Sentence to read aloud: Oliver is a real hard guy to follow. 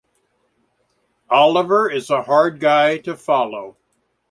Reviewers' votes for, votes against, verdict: 0, 2, rejected